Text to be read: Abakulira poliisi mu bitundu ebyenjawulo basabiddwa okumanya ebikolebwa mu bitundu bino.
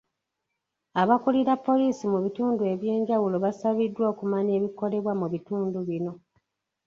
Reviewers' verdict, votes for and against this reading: accepted, 2, 1